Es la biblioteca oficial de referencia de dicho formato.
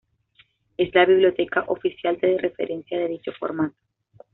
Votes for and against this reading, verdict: 2, 0, accepted